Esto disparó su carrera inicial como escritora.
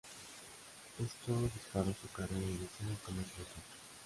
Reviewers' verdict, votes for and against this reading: rejected, 0, 2